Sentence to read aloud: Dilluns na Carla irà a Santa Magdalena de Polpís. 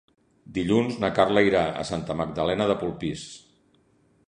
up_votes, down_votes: 2, 0